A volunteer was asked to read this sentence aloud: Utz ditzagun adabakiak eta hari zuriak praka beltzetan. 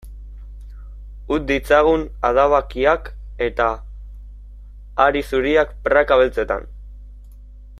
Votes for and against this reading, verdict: 2, 0, accepted